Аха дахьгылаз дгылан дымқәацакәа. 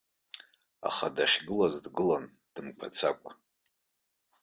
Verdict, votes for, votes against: accepted, 2, 0